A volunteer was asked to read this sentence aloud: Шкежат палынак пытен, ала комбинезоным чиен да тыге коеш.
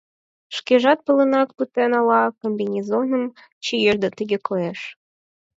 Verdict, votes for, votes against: accepted, 4, 0